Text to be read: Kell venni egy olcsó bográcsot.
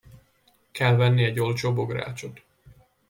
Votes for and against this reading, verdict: 2, 0, accepted